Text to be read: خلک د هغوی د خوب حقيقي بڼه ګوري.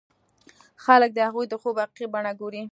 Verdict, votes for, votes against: accepted, 2, 0